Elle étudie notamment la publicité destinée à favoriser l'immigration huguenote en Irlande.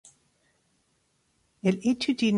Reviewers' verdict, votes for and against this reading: rejected, 0, 2